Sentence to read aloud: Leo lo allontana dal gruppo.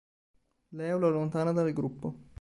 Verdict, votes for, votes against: accepted, 3, 0